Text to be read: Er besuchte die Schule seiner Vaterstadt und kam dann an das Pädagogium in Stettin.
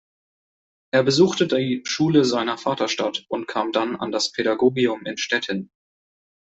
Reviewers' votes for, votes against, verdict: 2, 0, accepted